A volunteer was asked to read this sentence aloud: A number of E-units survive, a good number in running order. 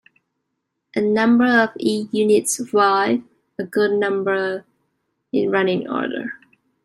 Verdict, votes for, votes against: rejected, 1, 2